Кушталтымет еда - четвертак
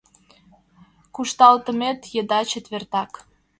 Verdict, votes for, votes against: accepted, 2, 0